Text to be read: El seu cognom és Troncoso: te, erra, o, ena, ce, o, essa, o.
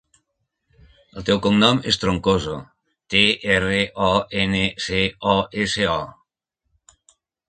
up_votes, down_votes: 0, 2